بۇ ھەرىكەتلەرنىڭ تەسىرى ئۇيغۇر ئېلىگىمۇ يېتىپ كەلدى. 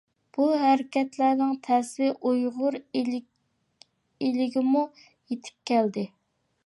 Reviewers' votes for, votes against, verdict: 0, 2, rejected